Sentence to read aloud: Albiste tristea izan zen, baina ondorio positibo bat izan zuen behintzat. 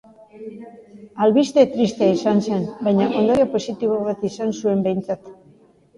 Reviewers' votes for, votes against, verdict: 2, 0, accepted